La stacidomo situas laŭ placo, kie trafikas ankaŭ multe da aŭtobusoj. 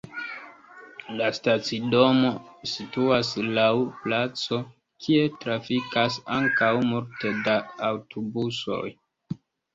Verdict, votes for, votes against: accepted, 2, 0